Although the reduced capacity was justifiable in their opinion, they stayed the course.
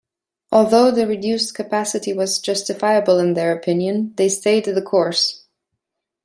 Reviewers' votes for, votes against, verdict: 1, 2, rejected